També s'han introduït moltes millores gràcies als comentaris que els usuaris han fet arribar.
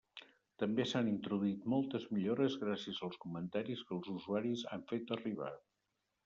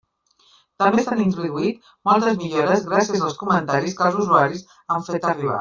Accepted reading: first